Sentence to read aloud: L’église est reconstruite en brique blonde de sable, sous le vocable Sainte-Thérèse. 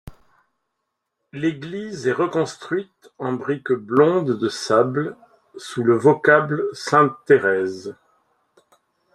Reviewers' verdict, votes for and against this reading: accepted, 2, 0